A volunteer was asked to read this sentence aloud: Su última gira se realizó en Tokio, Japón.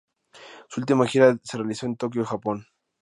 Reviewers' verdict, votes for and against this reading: accepted, 2, 0